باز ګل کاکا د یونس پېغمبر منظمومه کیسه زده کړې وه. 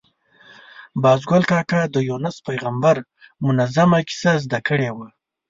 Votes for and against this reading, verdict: 2, 0, accepted